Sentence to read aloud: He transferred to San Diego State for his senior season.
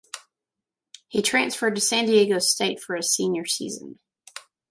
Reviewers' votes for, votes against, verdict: 1, 2, rejected